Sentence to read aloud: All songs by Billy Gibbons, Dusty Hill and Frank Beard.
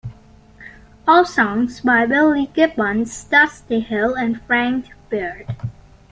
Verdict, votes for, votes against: accepted, 2, 0